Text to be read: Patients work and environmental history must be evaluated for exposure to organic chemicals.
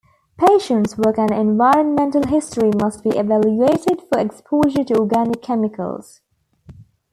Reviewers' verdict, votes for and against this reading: accepted, 2, 0